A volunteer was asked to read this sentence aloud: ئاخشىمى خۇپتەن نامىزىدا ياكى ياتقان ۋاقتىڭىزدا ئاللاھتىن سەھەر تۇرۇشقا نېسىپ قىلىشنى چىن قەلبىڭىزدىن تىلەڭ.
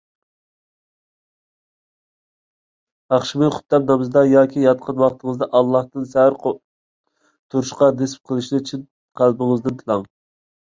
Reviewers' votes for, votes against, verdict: 1, 2, rejected